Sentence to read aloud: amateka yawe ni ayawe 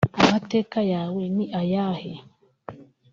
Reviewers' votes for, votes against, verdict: 0, 2, rejected